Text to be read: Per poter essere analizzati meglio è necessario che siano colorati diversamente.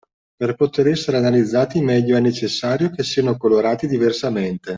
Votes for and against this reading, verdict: 2, 0, accepted